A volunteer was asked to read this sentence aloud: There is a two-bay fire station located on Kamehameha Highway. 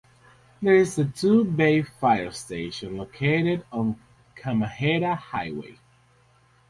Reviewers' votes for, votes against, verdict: 4, 2, accepted